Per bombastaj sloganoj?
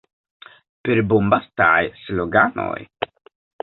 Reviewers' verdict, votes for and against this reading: rejected, 1, 2